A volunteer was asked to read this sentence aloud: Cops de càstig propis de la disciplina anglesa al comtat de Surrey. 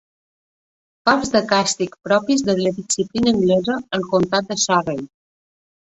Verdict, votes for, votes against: rejected, 1, 2